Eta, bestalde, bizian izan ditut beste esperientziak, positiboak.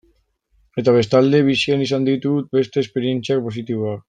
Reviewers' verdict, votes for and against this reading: rejected, 1, 2